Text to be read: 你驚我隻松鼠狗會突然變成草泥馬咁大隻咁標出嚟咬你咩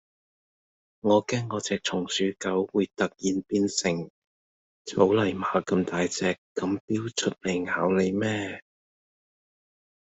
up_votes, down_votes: 0, 2